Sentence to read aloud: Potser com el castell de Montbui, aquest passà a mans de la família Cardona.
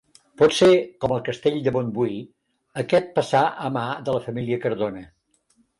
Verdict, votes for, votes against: rejected, 1, 2